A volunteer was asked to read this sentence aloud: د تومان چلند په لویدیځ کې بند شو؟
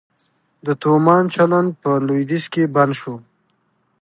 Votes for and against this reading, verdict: 3, 0, accepted